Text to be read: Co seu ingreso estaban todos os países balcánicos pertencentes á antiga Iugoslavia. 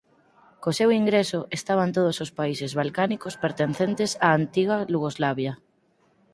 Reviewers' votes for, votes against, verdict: 0, 4, rejected